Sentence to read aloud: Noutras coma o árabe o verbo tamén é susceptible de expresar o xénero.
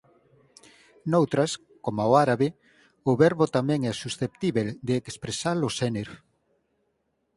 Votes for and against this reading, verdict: 0, 4, rejected